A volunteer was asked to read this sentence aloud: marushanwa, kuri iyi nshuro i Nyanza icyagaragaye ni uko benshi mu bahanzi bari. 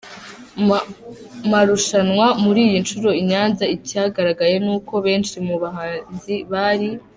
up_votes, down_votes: 1, 2